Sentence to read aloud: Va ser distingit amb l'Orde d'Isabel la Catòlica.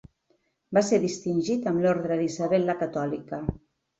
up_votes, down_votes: 2, 0